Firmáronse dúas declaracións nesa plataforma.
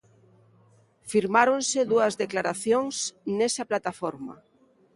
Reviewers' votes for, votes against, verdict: 2, 0, accepted